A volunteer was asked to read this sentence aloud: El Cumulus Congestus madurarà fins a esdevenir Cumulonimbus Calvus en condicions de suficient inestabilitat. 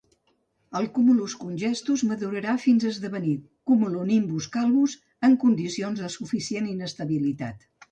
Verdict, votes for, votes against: accepted, 2, 0